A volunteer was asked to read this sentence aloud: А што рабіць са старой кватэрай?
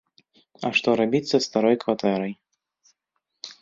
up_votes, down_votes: 3, 0